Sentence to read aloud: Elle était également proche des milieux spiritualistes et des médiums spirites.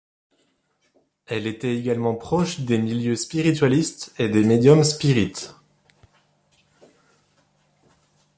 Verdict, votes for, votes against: accepted, 2, 0